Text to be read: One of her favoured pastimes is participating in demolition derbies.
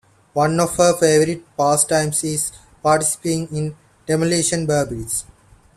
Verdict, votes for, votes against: accepted, 2, 1